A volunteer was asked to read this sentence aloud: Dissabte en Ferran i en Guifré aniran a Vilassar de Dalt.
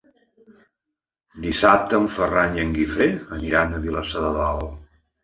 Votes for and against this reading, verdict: 2, 0, accepted